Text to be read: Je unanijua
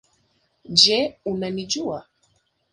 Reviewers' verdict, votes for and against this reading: accepted, 2, 1